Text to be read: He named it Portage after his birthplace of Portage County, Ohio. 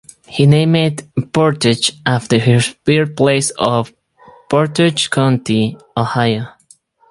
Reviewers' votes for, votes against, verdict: 2, 2, rejected